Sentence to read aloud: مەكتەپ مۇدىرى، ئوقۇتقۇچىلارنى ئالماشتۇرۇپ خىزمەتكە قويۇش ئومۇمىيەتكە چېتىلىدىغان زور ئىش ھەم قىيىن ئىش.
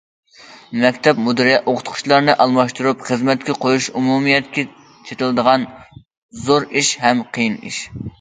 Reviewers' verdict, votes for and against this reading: accepted, 2, 0